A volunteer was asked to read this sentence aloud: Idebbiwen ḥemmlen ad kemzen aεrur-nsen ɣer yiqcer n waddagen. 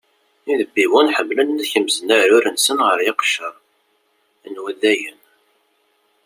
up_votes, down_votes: 0, 2